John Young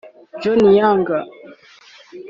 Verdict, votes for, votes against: accepted, 2, 1